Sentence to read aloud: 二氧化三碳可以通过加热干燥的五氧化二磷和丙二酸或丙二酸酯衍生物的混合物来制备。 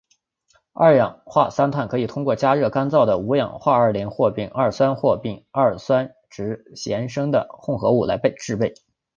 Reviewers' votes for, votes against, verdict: 0, 2, rejected